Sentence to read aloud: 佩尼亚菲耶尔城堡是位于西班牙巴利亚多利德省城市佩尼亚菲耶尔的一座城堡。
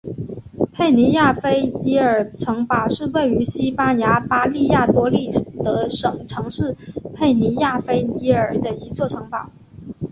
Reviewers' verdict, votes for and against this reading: accepted, 2, 0